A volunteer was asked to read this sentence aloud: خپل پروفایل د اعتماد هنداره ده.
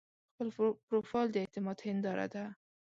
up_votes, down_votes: 1, 2